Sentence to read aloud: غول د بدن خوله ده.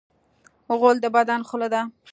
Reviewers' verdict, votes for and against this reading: accepted, 2, 0